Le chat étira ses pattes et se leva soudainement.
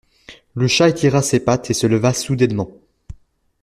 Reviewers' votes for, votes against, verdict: 2, 0, accepted